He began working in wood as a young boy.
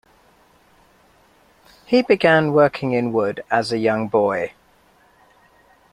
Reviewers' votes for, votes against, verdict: 2, 0, accepted